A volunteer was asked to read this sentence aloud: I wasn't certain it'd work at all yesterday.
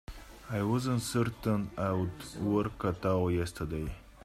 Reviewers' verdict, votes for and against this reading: rejected, 0, 2